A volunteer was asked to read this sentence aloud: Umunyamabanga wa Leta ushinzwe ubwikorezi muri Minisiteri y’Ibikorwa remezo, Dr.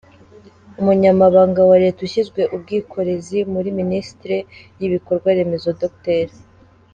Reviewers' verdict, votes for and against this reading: rejected, 1, 2